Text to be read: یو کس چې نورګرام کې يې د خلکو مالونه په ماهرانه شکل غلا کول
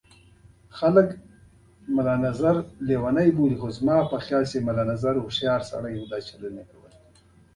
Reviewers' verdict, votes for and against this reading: accepted, 2, 1